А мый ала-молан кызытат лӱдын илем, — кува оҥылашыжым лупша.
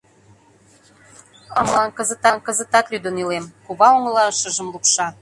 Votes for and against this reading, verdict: 0, 2, rejected